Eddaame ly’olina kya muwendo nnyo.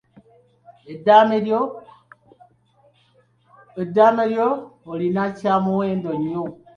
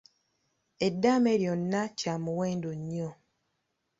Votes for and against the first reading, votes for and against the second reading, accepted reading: 1, 2, 2, 0, second